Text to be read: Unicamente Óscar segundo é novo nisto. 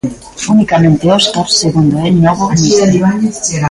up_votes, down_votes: 1, 2